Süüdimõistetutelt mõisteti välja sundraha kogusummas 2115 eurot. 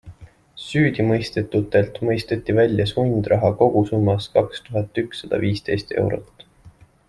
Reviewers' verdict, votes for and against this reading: rejected, 0, 2